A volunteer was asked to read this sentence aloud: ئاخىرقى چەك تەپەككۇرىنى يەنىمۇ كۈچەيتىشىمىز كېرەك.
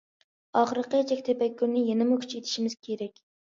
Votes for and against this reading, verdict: 2, 0, accepted